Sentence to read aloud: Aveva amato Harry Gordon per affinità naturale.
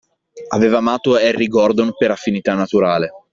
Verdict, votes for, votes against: accepted, 2, 0